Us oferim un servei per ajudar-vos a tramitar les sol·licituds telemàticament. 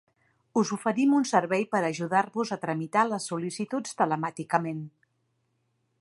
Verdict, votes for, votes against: accepted, 2, 0